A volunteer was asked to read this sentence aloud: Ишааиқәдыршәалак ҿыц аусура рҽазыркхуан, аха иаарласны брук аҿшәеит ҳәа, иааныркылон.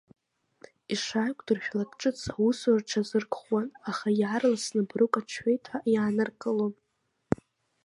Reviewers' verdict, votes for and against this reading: rejected, 0, 2